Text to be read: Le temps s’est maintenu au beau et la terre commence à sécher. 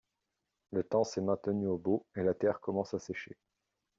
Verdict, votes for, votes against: accepted, 2, 0